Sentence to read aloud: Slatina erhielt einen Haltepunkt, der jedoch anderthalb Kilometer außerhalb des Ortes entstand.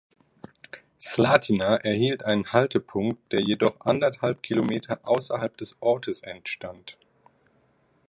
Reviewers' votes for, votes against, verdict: 1, 2, rejected